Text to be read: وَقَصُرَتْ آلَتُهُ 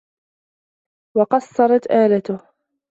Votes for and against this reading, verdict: 0, 2, rejected